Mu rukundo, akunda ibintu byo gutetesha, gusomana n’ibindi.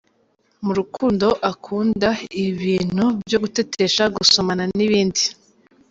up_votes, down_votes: 2, 0